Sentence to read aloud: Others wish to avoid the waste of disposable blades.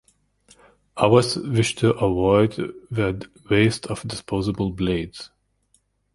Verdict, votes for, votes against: accepted, 2, 0